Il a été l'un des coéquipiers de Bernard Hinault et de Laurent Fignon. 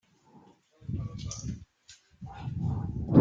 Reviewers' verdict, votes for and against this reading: rejected, 0, 2